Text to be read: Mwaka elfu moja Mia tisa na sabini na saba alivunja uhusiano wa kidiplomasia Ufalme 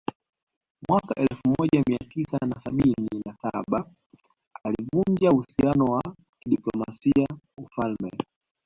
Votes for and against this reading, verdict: 2, 1, accepted